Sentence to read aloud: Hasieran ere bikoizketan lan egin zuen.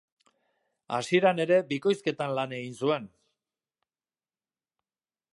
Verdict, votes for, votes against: accepted, 2, 0